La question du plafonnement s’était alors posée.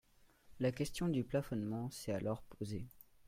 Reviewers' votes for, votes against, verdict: 0, 2, rejected